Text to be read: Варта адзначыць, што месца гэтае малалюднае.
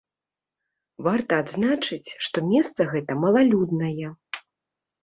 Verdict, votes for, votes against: rejected, 1, 2